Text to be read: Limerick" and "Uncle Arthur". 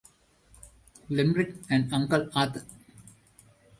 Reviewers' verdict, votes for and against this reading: accepted, 2, 1